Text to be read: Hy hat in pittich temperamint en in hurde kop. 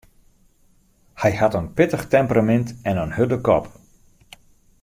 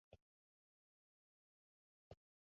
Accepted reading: first